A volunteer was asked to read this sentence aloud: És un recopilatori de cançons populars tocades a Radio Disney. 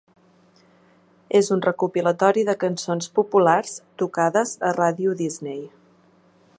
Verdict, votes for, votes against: accepted, 5, 0